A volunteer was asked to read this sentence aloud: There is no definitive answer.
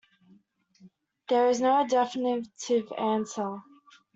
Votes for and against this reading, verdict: 0, 2, rejected